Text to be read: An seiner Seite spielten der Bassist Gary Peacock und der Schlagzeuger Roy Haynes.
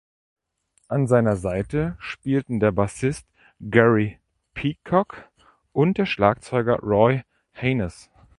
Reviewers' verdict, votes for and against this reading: rejected, 1, 2